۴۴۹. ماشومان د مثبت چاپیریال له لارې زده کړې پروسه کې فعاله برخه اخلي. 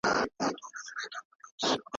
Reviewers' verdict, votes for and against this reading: rejected, 0, 2